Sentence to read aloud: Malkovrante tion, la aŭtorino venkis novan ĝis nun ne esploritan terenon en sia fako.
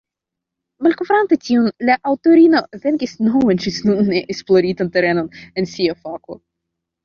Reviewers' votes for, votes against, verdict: 1, 2, rejected